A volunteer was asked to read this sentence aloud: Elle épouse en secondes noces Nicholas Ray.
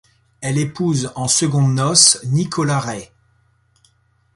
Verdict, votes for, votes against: rejected, 1, 2